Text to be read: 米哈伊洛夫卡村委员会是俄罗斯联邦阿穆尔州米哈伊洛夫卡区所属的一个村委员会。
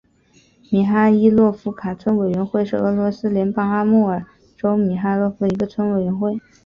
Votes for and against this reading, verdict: 3, 2, accepted